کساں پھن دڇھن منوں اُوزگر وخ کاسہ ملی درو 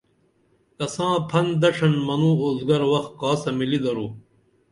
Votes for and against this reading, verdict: 2, 0, accepted